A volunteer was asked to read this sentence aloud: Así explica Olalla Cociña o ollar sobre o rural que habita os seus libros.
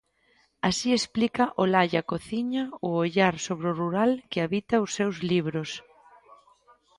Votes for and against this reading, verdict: 2, 0, accepted